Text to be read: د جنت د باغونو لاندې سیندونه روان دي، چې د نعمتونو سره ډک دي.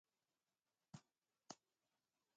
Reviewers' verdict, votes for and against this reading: rejected, 0, 2